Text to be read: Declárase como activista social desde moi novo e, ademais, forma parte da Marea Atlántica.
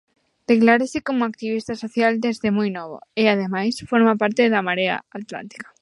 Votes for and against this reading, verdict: 1, 2, rejected